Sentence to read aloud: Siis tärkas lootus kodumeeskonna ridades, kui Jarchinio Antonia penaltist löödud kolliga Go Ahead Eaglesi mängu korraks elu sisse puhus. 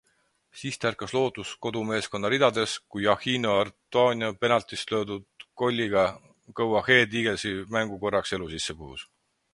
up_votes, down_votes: 4, 0